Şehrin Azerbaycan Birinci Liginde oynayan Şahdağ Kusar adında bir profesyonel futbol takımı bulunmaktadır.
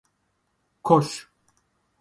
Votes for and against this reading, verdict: 0, 2, rejected